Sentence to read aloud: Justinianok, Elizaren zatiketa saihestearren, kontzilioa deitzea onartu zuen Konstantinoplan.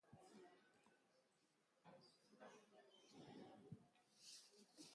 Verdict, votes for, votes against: rejected, 0, 2